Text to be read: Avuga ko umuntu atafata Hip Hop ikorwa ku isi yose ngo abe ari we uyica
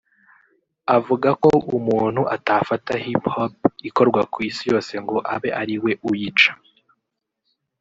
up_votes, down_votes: 1, 2